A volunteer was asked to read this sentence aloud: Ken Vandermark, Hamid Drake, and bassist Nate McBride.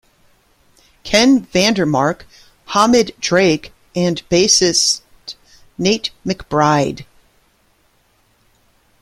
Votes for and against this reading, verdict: 2, 0, accepted